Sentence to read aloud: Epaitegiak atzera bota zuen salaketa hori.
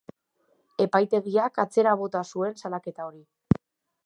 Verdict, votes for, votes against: accepted, 4, 0